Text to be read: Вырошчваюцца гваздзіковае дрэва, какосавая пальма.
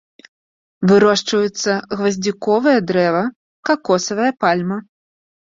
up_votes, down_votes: 2, 0